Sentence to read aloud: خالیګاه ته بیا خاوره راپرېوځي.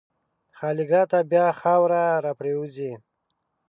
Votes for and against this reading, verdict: 2, 0, accepted